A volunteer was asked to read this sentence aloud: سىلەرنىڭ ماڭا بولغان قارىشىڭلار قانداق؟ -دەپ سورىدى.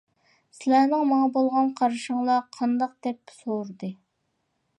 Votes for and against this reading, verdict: 2, 0, accepted